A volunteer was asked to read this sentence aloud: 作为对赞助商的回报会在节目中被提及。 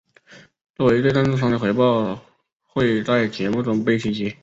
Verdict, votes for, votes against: accepted, 2, 0